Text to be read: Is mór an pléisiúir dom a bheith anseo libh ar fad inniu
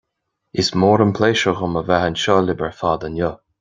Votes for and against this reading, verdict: 2, 1, accepted